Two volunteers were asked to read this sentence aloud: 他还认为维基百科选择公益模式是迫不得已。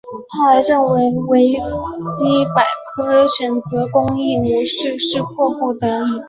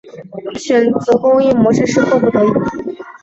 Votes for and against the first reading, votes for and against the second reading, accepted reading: 2, 0, 1, 2, first